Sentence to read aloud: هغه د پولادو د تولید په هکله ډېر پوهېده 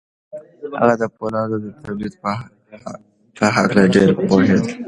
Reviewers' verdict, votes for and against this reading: rejected, 1, 2